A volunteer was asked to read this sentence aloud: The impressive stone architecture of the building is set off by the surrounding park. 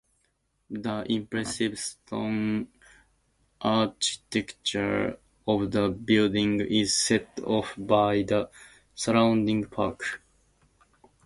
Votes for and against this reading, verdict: 0, 2, rejected